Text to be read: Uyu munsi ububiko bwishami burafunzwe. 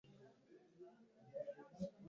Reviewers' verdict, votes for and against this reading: rejected, 1, 2